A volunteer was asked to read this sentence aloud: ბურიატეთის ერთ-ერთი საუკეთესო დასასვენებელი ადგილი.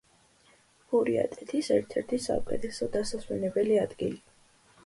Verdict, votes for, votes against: accepted, 2, 0